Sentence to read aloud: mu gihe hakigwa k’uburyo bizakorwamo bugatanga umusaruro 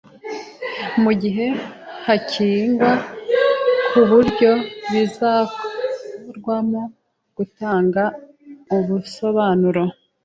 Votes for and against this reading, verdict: 0, 2, rejected